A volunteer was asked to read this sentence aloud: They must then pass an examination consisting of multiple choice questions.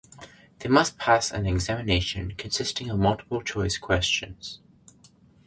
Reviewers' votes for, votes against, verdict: 0, 2, rejected